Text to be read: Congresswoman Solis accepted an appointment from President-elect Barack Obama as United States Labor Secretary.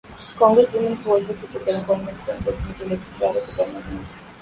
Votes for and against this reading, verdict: 0, 2, rejected